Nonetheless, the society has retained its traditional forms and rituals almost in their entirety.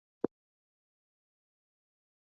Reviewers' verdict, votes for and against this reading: rejected, 0, 2